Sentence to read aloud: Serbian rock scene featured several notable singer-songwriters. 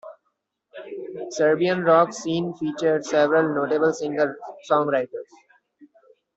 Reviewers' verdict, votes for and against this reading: rejected, 1, 2